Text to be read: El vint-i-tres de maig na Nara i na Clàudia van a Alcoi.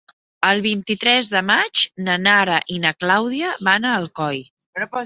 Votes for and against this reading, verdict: 3, 0, accepted